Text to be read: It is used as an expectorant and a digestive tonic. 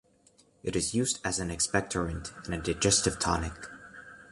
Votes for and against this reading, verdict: 2, 0, accepted